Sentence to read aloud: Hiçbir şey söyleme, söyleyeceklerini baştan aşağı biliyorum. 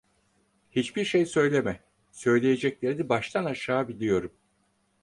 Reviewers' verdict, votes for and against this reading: accepted, 4, 0